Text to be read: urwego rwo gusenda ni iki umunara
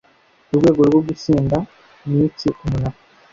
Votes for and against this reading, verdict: 2, 0, accepted